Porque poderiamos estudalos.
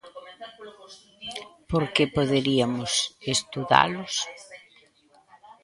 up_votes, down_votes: 1, 2